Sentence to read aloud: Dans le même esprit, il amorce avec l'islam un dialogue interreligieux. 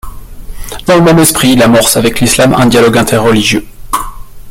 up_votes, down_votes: 0, 2